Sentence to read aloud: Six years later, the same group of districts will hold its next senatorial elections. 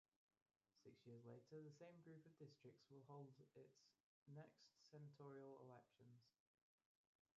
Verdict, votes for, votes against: rejected, 1, 2